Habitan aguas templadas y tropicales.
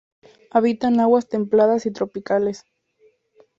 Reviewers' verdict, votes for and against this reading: rejected, 0, 2